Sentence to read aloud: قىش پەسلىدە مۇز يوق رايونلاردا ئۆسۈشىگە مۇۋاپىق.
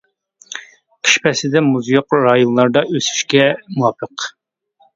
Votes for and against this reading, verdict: 0, 2, rejected